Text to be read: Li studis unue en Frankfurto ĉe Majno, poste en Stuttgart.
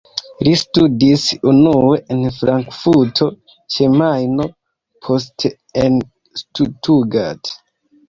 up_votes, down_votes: 2, 0